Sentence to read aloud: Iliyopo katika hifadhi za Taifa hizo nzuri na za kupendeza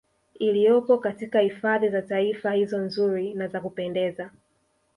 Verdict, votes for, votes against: accepted, 2, 0